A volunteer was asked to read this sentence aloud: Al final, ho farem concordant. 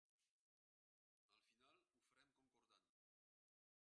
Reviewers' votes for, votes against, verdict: 0, 2, rejected